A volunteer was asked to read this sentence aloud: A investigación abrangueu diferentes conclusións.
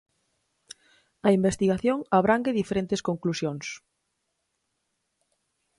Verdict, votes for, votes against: rejected, 2, 4